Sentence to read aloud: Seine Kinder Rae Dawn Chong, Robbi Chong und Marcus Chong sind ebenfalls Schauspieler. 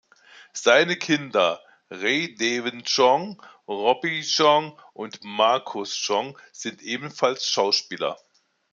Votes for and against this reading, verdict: 0, 2, rejected